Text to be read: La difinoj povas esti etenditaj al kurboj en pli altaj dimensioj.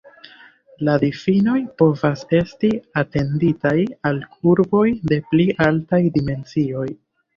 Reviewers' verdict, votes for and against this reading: rejected, 1, 2